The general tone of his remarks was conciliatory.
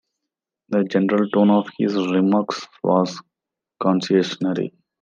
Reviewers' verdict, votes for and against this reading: rejected, 0, 2